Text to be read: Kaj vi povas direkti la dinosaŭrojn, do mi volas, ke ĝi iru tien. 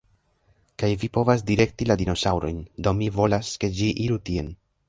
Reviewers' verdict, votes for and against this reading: rejected, 1, 2